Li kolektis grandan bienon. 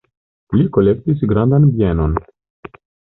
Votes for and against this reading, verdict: 2, 1, accepted